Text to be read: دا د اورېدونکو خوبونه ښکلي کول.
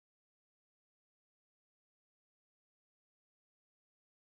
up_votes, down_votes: 0, 2